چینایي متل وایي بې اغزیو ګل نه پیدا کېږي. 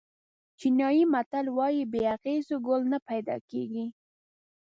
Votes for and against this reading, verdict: 0, 2, rejected